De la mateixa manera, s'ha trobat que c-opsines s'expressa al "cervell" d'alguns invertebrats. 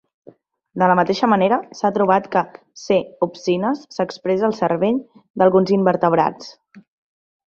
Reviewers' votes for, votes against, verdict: 2, 0, accepted